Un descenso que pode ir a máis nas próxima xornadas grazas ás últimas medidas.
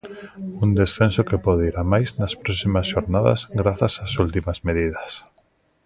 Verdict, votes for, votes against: rejected, 1, 2